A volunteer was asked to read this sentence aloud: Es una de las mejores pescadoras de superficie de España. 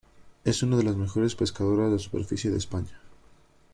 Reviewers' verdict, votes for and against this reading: accepted, 2, 0